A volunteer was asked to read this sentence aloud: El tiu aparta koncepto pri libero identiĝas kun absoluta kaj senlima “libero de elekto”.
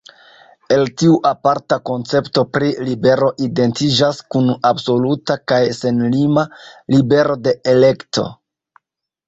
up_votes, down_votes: 0, 2